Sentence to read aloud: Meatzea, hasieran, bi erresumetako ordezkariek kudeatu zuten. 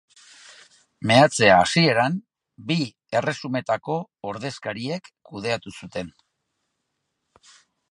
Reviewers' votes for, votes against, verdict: 3, 0, accepted